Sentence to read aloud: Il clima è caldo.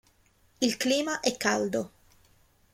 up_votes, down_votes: 2, 0